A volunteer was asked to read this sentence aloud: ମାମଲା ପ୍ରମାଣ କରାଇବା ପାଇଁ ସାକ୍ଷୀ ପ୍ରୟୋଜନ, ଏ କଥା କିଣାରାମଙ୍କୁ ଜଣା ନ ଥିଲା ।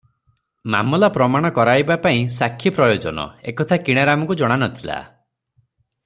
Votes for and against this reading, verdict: 3, 0, accepted